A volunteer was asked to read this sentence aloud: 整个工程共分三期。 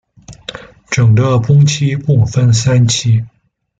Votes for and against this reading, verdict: 0, 2, rejected